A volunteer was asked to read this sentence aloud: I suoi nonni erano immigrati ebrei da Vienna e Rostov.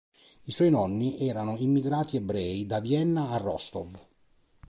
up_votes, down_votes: 6, 7